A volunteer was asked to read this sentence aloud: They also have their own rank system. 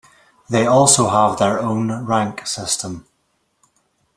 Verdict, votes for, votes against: accepted, 2, 0